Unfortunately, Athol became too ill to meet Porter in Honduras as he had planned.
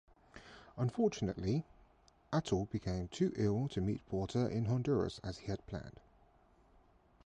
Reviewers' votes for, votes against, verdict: 2, 0, accepted